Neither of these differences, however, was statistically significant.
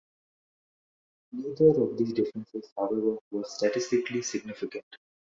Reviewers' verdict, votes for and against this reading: rejected, 1, 2